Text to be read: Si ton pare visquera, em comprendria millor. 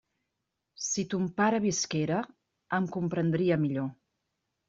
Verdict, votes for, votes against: accepted, 2, 0